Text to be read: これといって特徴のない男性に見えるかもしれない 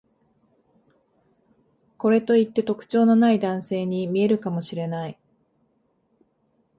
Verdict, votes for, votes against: accepted, 2, 0